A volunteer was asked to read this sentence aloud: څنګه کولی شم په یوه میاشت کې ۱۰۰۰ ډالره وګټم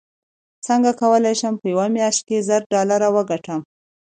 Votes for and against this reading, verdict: 0, 2, rejected